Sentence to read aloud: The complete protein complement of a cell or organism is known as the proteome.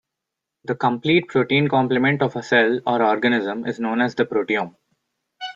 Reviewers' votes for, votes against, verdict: 1, 2, rejected